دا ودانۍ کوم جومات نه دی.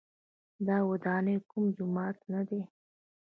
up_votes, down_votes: 2, 1